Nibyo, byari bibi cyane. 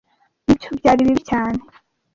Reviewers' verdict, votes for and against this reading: rejected, 1, 2